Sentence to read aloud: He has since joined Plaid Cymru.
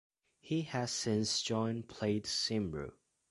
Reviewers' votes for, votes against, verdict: 2, 0, accepted